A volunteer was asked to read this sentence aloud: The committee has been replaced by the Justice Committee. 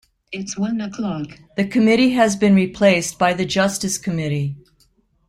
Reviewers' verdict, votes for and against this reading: rejected, 0, 2